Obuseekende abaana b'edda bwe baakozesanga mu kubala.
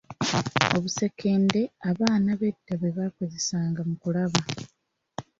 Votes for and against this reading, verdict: 1, 2, rejected